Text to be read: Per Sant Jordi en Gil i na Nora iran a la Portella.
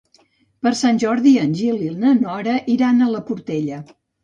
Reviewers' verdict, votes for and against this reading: accepted, 2, 0